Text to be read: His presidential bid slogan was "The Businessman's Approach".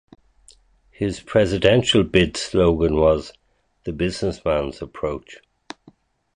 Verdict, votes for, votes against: accepted, 4, 0